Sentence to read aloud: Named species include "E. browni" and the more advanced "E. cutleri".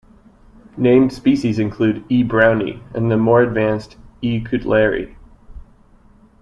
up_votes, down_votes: 2, 0